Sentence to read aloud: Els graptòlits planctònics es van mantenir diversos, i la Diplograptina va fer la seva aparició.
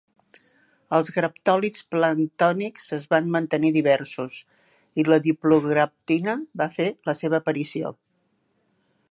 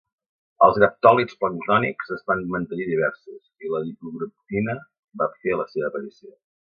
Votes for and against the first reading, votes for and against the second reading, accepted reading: 2, 0, 0, 2, first